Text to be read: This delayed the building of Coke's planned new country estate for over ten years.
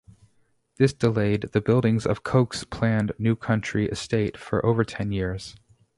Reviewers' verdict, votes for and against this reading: rejected, 2, 2